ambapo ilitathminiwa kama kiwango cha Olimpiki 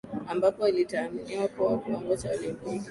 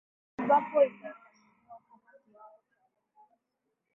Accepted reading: first